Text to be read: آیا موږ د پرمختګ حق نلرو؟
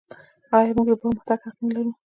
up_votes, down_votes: 2, 1